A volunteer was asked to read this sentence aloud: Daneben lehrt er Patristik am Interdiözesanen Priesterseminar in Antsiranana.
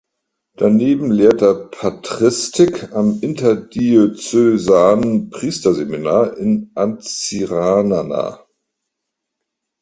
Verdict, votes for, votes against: rejected, 0, 2